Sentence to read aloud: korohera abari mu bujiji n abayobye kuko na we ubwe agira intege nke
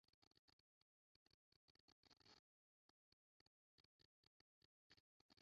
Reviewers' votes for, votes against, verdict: 0, 2, rejected